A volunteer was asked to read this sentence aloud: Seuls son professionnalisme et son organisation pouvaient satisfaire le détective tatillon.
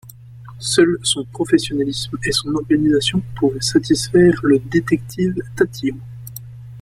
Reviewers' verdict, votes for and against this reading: accepted, 2, 1